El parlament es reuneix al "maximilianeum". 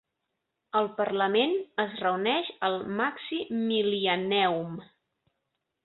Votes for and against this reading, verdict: 1, 2, rejected